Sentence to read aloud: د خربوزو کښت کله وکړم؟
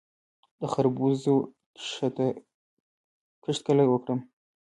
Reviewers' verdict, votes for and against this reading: accepted, 2, 1